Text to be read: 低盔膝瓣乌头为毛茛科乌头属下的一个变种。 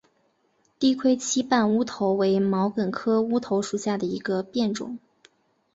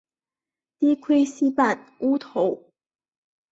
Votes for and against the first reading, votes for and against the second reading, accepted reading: 2, 1, 0, 2, first